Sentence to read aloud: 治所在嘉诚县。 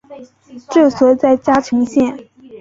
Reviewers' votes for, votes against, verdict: 2, 0, accepted